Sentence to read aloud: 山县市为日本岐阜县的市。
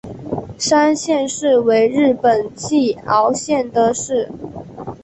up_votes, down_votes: 2, 1